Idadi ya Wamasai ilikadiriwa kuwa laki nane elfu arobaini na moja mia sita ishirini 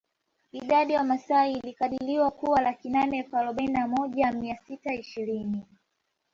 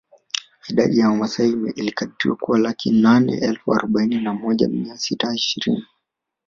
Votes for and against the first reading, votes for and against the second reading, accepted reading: 2, 0, 1, 2, first